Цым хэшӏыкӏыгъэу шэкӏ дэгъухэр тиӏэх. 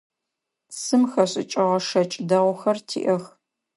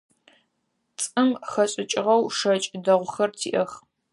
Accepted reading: first